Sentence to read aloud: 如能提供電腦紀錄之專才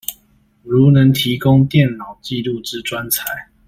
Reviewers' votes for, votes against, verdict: 2, 0, accepted